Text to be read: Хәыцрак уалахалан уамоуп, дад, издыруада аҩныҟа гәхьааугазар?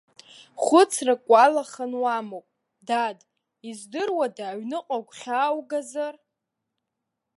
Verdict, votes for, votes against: accepted, 2, 0